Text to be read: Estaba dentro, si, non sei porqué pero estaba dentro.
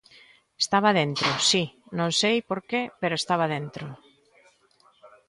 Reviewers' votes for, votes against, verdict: 2, 1, accepted